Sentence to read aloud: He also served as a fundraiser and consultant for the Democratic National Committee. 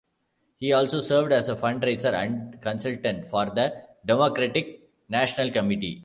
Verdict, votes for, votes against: accepted, 2, 1